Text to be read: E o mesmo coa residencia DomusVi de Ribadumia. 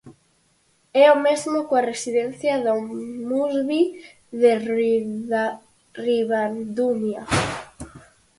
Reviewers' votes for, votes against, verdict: 0, 4, rejected